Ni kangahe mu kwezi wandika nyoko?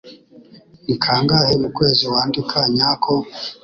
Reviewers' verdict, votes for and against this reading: rejected, 1, 2